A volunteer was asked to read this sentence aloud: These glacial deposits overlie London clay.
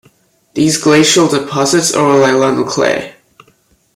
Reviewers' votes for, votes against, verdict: 2, 0, accepted